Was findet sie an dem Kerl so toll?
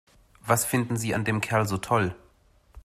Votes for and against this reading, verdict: 2, 0, accepted